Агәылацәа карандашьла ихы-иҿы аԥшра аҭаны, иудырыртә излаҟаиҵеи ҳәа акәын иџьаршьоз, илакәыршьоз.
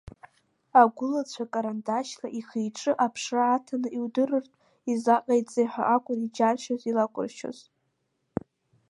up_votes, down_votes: 1, 2